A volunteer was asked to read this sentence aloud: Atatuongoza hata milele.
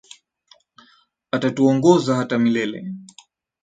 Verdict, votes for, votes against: accepted, 2, 0